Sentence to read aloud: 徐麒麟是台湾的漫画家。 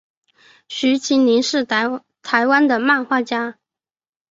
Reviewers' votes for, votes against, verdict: 3, 1, accepted